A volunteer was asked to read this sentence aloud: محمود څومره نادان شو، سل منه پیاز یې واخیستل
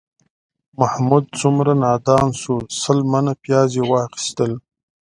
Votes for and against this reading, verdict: 2, 0, accepted